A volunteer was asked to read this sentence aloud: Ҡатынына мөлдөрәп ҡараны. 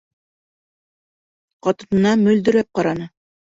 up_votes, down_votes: 2, 1